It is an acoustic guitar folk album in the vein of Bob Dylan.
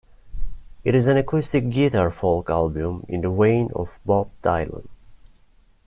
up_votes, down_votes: 1, 2